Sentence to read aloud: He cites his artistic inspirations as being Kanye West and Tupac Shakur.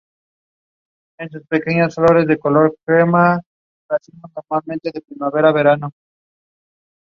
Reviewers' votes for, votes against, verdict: 0, 2, rejected